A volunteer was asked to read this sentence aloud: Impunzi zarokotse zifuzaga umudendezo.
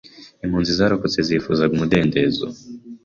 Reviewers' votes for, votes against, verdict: 2, 0, accepted